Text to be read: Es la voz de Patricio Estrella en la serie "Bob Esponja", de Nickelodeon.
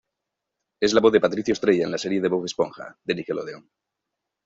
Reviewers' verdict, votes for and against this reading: rejected, 0, 2